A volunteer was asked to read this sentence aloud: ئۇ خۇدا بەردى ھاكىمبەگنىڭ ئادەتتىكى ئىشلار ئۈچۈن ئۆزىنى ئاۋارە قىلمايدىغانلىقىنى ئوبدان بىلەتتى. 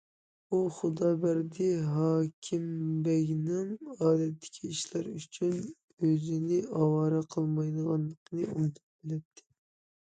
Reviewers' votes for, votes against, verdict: 0, 2, rejected